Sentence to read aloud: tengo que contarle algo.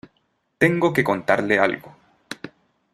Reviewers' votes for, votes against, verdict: 2, 0, accepted